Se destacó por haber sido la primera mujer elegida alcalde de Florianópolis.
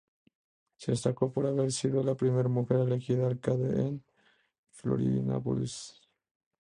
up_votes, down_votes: 0, 2